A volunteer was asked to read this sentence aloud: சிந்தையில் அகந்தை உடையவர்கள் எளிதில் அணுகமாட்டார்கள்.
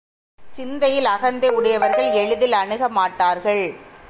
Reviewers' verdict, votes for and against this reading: accepted, 2, 0